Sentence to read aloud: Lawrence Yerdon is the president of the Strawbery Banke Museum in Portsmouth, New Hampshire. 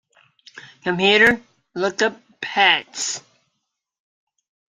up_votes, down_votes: 0, 2